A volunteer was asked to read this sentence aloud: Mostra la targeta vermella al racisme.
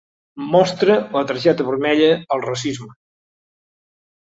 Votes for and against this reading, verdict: 4, 0, accepted